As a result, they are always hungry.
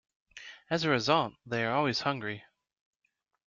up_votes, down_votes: 2, 0